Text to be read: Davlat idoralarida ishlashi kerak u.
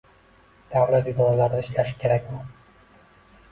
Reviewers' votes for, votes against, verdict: 2, 1, accepted